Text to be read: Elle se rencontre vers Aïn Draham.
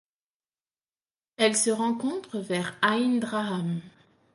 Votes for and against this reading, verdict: 2, 0, accepted